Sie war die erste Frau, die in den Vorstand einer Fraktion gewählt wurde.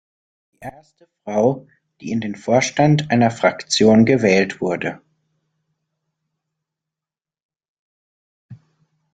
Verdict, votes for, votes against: rejected, 0, 2